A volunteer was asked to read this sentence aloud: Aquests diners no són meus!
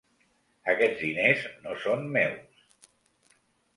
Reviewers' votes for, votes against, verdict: 2, 0, accepted